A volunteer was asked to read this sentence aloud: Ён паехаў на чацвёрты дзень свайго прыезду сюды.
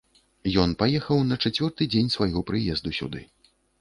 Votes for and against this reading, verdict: 2, 0, accepted